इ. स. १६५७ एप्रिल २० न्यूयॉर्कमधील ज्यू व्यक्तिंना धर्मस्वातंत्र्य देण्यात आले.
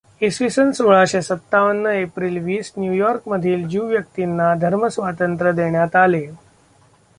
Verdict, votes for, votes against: rejected, 0, 2